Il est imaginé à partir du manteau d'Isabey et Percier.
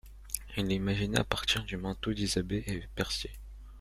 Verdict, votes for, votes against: rejected, 1, 2